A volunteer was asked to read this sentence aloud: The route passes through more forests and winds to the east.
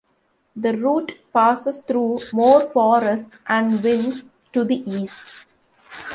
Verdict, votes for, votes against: rejected, 1, 2